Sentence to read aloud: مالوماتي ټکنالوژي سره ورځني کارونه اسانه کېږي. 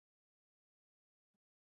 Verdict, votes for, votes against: rejected, 0, 3